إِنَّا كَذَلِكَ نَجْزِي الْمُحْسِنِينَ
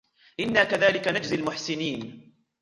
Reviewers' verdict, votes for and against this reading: rejected, 0, 2